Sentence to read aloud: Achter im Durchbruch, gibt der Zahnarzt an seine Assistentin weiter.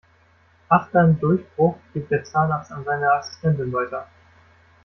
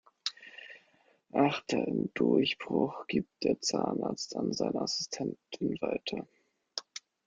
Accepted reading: first